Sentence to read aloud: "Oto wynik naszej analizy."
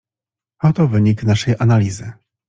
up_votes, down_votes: 2, 0